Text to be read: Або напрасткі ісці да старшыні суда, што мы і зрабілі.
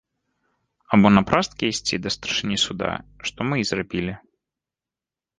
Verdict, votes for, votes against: rejected, 0, 2